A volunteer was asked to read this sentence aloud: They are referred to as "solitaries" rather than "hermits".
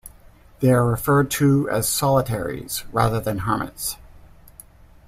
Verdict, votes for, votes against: accepted, 2, 0